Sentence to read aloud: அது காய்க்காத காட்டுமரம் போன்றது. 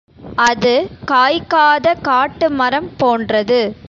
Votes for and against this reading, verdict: 2, 0, accepted